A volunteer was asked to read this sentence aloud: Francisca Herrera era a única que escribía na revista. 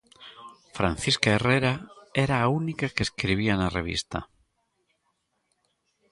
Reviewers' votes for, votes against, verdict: 2, 0, accepted